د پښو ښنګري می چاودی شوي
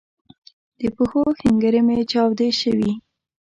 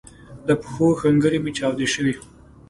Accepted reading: second